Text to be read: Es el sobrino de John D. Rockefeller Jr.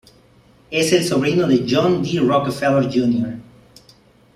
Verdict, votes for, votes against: accepted, 2, 0